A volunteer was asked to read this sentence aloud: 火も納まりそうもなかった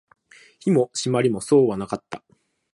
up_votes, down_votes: 1, 2